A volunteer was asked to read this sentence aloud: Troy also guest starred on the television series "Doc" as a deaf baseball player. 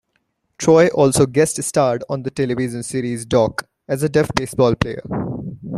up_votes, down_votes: 2, 1